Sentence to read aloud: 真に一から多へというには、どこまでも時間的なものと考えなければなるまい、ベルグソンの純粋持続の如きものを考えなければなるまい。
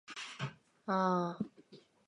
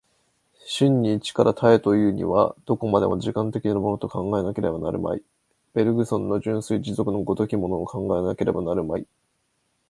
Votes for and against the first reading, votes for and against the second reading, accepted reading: 0, 6, 2, 0, second